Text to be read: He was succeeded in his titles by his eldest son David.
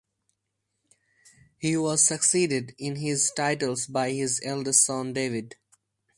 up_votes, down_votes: 2, 0